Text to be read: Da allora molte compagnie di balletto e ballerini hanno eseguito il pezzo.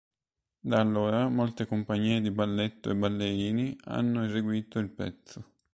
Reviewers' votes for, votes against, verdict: 2, 0, accepted